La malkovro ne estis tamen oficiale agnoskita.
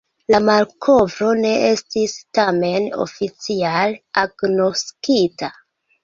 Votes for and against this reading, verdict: 2, 1, accepted